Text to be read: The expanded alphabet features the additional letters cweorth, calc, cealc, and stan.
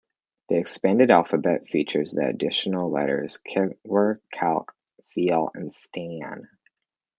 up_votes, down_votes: 2, 1